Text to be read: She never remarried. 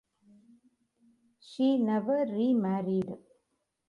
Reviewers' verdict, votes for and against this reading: accepted, 2, 1